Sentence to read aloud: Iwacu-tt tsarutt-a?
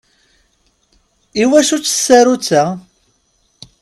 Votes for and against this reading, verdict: 2, 0, accepted